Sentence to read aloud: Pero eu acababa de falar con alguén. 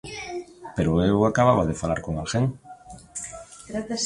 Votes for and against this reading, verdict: 1, 2, rejected